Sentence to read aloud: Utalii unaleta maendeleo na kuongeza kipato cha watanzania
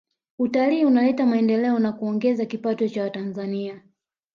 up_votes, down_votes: 2, 0